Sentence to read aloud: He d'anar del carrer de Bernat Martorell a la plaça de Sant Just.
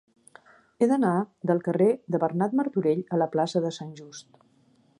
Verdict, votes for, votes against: accepted, 3, 0